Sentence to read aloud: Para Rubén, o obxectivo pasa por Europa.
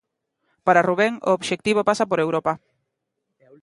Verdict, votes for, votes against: accepted, 2, 0